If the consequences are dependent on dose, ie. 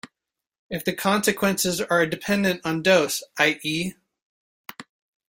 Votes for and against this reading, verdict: 2, 1, accepted